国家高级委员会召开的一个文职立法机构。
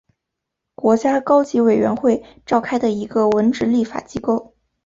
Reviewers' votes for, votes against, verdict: 2, 0, accepted